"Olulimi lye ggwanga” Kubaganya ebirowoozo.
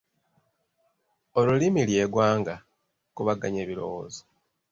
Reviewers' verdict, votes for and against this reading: accepted, 2, 0